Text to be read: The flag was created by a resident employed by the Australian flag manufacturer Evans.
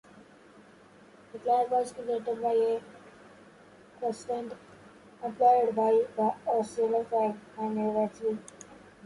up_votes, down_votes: 0, 2